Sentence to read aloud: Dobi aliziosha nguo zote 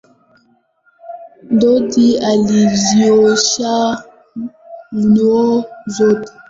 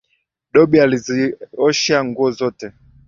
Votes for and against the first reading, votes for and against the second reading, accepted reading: 0, 2, 9, 0, second